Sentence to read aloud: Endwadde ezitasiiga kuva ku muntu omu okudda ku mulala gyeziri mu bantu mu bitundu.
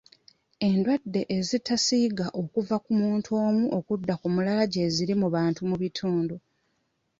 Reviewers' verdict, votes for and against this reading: rejected, 1, 2